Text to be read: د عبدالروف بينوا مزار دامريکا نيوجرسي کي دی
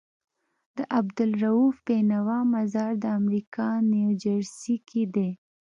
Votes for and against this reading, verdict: 2, 0, accepted